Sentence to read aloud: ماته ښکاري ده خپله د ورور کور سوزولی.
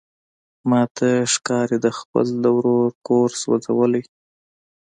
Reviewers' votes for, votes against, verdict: 2, 0, accepted